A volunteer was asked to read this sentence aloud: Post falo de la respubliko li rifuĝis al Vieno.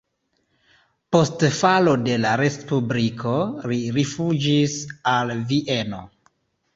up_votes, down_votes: 2, 0